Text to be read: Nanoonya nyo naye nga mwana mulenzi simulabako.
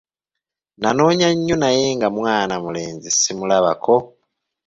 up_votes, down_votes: 2, 1